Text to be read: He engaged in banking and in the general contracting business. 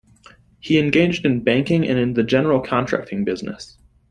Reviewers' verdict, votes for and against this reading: accepted, 2, 0